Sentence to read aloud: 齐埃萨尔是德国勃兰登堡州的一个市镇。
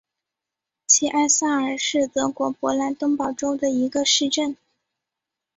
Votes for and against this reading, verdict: 2, 0, accepted